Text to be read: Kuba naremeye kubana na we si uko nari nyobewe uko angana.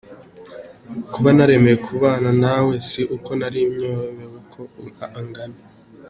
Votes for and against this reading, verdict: 2, 0, accepted